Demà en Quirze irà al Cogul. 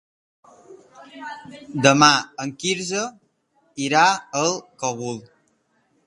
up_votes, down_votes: 0, 2